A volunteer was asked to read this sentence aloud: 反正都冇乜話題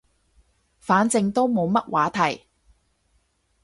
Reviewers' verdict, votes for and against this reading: accepted, 2, 0